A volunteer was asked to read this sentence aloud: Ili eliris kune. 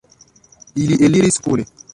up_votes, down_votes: 1, 2